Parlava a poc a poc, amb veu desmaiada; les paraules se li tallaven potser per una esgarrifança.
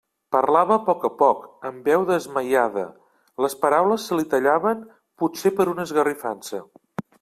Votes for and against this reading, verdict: 2, 0, accepted